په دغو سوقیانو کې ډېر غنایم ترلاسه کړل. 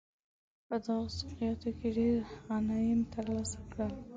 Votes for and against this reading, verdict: 2, 0, accepted